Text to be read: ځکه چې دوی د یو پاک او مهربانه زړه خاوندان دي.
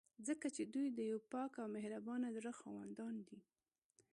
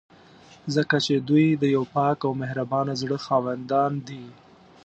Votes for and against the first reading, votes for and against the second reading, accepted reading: 2, 0, 1, 2, first